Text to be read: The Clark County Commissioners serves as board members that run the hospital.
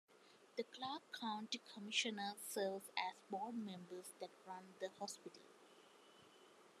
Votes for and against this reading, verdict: 2, 1, accepted